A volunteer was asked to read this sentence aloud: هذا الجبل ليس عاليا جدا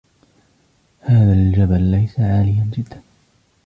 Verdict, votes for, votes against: rejected, 1, 2